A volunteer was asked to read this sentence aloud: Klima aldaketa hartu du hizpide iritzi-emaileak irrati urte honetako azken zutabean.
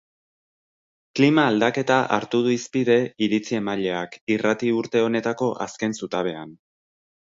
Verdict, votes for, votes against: accepted, 2, 0